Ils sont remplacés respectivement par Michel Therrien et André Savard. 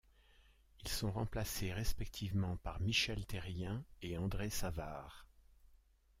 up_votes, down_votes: 0, 2